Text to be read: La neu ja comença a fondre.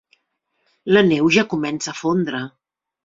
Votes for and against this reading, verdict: 3, 0, accepted